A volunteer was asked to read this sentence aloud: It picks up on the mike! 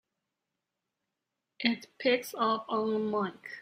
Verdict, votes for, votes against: rejected, 1, 2